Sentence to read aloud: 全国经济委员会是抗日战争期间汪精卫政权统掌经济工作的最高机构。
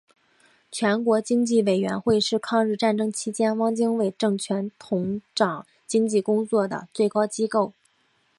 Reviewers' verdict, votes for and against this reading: accepted, 2, 1